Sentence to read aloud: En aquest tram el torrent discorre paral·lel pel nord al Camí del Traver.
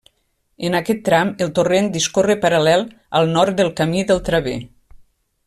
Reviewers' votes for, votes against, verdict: 0, 2, rejected